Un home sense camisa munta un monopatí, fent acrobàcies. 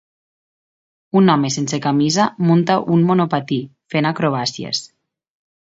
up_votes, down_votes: 2, 1